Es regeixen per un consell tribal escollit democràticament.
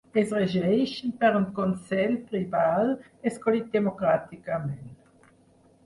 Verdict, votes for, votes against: rejected, 0, 4